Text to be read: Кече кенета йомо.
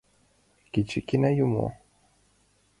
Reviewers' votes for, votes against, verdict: 0, 2, rejected